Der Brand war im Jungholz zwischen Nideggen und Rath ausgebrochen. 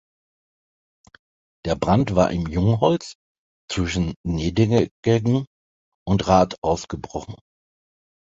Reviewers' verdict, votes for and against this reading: rejected, 0, 2